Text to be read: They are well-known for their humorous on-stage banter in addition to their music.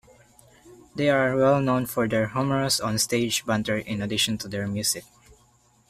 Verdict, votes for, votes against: rejected, 1, 2